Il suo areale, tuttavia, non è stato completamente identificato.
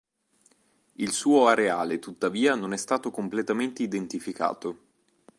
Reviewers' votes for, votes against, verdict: 2, 0, accepted